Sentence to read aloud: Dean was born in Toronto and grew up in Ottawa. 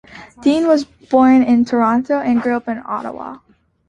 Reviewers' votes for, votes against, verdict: 2, 0, accepted